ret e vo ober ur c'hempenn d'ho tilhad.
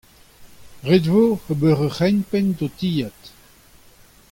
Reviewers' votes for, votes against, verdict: 2, 1, accepted